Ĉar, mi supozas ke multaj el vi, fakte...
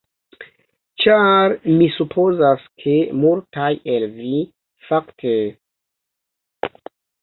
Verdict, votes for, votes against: rejected, 1, 2